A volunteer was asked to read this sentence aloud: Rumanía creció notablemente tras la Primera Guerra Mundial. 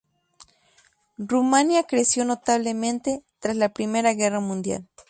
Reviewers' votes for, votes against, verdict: 4, 0, accepted